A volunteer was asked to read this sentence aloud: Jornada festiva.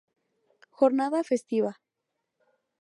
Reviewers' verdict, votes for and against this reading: accepted, 4, 0